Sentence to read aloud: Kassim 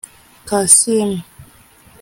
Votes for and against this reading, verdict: 0, 2, rejected